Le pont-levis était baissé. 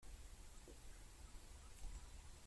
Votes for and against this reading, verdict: 0, 2, rejected